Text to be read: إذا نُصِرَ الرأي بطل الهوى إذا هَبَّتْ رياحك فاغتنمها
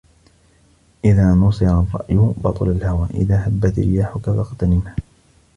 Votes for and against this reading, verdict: 2, 0, accepted